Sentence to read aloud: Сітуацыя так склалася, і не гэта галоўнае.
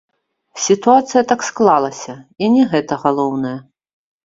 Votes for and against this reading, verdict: 1, 3, rejected